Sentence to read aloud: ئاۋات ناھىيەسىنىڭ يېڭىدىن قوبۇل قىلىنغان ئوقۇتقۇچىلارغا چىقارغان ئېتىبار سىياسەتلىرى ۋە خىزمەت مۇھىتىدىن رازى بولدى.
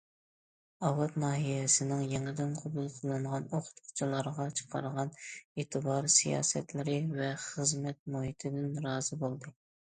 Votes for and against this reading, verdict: 2, 0, accepted